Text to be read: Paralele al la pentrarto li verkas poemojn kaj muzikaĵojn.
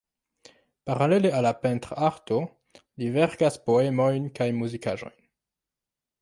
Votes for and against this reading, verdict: 0, 2, rejected